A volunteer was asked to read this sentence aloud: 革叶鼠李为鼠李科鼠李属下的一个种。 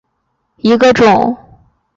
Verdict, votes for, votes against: rejected, 0, 2